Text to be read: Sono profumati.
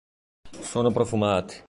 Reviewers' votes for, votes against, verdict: 2, 0, accepted